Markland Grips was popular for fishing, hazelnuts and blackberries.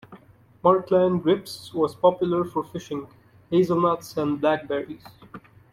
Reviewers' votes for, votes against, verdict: 2, 1, accepted